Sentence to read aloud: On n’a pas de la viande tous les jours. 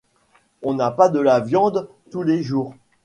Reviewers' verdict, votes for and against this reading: accepted, 2, 0